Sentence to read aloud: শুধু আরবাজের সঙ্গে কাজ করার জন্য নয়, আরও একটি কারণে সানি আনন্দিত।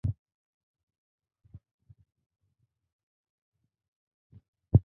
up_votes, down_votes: 0, 2